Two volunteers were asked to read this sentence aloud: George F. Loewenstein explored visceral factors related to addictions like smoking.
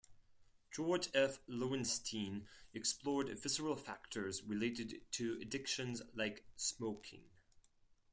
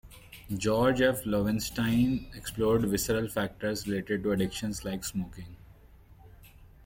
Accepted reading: second